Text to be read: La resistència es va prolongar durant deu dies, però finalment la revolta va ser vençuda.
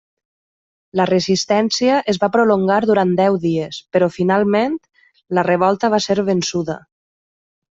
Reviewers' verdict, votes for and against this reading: accepted, 3, 0